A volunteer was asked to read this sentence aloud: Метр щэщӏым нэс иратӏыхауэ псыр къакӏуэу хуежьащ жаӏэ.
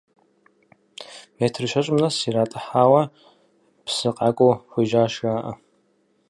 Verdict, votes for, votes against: rejected, 0, 4